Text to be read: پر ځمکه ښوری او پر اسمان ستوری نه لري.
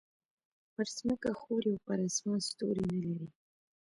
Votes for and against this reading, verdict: 2, 1, accepted